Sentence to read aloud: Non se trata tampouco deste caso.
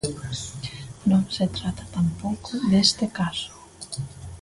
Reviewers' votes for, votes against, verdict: 0, 2, rejected